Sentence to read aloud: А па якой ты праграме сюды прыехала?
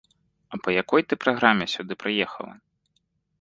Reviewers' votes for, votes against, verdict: 2, 0, accepted